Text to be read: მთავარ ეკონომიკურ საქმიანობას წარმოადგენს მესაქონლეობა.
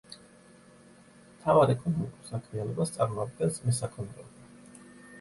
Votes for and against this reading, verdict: 0, 2, rejected